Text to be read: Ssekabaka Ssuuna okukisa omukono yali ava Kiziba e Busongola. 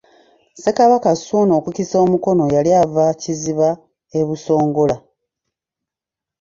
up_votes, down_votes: 2, 0